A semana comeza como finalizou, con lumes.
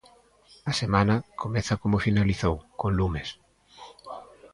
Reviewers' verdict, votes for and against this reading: accepted, 2, 0